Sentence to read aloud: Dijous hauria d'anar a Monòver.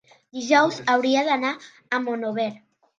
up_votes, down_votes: 0, 2